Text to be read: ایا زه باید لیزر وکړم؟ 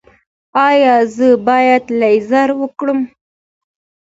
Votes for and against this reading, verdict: 2, 0, accepted